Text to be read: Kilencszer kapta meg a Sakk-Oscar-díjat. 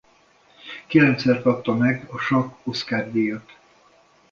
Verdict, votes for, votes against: accepted, 2, 0